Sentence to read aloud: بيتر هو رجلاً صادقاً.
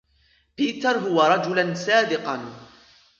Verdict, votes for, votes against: accepted, 2, 1